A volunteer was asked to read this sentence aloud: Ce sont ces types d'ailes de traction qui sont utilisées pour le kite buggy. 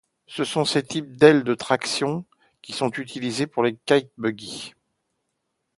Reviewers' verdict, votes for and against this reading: rejected, 1, 2